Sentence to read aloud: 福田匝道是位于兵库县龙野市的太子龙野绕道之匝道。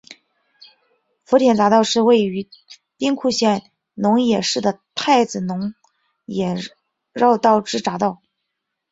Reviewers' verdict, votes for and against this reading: accepted, 2, 0